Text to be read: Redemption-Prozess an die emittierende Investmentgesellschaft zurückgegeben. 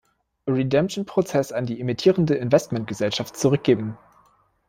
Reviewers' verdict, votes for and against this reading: rejected, 0, 2